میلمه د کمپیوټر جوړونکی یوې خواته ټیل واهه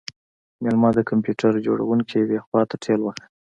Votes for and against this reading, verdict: 2, 0, accepted